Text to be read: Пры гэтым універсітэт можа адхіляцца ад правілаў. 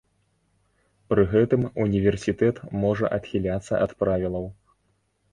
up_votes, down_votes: 2, 0